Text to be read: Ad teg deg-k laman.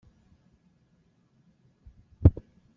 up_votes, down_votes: 0, 2